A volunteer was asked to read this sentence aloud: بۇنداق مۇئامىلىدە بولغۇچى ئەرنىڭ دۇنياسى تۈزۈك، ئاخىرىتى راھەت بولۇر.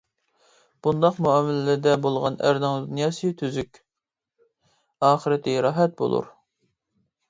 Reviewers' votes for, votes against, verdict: 0, 2, rejected